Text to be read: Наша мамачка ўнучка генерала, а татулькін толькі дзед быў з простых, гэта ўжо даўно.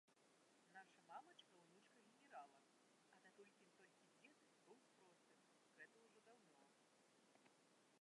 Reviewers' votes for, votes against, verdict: 0, 2, rejected